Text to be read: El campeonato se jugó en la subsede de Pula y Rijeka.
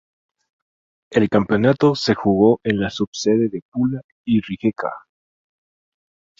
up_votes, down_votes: 0, 2